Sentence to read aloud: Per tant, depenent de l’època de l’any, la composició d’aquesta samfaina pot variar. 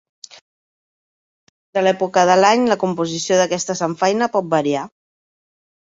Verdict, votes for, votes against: rejected, 2, 3